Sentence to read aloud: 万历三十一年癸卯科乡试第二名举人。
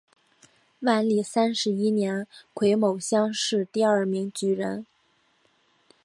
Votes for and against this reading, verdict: 5, 2, accepted